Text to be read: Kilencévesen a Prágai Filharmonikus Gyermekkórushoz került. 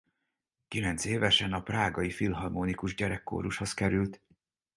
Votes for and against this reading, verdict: 0, 4, rejected